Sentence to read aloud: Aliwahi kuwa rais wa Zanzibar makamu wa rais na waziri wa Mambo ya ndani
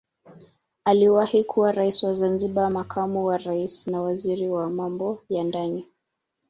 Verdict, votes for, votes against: accepted, 2, 0